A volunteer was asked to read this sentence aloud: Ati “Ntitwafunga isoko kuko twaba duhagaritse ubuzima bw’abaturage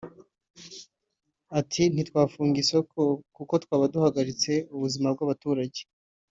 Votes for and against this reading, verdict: 2, 0, accepted